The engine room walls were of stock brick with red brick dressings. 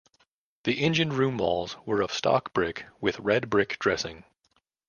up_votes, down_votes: 1, 2